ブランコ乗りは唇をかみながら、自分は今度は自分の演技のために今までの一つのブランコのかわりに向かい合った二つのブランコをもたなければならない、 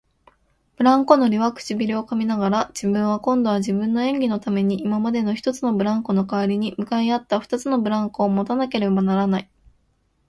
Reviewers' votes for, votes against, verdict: 3, 1, accepted